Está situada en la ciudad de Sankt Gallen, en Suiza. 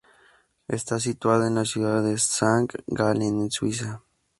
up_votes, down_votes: 2, 0